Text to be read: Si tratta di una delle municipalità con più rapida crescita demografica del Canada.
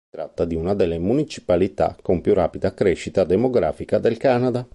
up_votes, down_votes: 1, 2